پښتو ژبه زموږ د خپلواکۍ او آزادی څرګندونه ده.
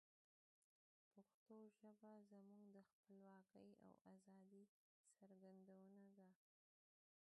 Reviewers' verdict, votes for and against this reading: rejected, 0, 3